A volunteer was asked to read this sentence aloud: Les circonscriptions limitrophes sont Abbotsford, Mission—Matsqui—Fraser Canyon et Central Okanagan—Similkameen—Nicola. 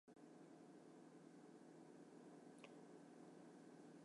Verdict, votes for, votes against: rejected, 0, 2